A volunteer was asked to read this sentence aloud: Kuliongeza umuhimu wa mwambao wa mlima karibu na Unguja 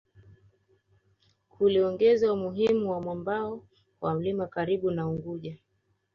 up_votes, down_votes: 1, 2